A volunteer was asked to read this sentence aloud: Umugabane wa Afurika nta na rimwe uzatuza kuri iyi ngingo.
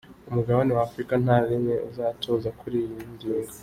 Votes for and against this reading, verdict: 0, 2, rejected